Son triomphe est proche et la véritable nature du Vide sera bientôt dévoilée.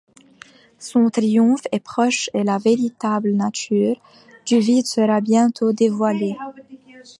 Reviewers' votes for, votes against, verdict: 2, 1, accepted